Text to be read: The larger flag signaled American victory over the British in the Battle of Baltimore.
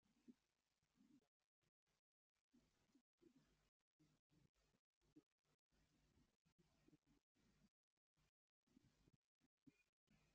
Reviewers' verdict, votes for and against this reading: rejected, 0, 2